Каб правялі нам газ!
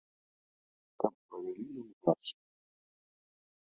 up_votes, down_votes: 0, 2